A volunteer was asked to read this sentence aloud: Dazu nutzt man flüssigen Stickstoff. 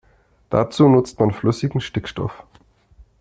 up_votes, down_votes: 2, 0